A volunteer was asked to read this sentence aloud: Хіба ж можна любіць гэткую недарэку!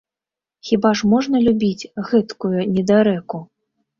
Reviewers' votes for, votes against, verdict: 3, 0, accepted